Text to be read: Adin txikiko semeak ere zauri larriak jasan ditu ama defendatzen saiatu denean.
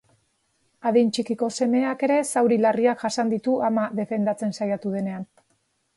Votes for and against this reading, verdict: 4, 0, accepted